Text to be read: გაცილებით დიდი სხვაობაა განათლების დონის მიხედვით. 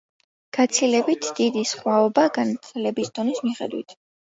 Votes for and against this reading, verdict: 0, 2, rejected